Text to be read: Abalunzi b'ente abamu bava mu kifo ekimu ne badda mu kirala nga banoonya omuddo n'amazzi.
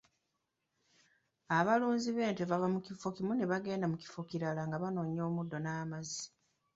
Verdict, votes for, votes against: rejected, 1, 2